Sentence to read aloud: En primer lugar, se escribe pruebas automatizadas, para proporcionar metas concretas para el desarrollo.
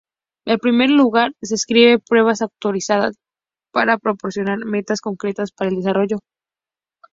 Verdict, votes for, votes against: rejected, 0, 2